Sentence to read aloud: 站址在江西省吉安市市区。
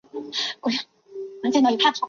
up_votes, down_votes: 1, 2